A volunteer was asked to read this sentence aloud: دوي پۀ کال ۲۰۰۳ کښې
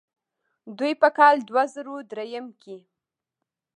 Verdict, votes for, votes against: rejected, 0, 2